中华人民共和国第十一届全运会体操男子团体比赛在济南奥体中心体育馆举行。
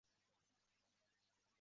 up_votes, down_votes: 0, 4